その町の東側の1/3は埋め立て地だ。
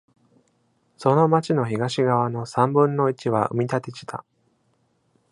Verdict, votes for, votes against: rejected, 0, 2